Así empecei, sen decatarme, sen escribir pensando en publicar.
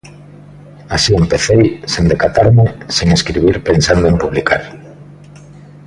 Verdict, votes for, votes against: accepted, 2, 0